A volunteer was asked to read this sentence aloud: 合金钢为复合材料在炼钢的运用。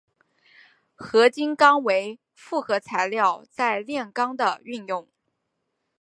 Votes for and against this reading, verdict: 5, 0, accepted